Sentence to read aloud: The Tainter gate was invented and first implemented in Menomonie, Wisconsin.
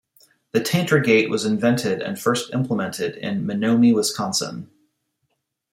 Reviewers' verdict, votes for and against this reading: rejected, 1, 2